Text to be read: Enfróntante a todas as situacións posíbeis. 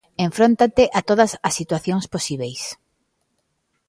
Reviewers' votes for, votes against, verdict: 2, 1, accepted